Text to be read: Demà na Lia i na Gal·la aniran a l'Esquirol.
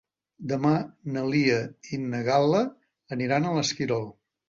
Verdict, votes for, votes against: accepted, 4, 0